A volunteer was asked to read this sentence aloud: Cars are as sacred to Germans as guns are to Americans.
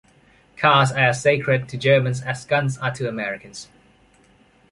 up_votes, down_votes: 1, 2